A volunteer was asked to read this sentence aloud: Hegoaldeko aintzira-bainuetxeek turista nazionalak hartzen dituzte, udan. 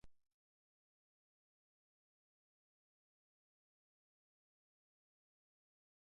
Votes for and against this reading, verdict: 0, 2, rejected